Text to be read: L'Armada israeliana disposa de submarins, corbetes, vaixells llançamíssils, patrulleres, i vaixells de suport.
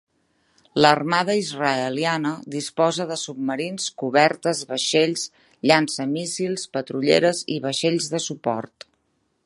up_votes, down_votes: 0, 2